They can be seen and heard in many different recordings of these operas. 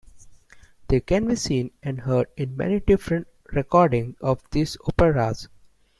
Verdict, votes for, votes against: rejected, 0, 2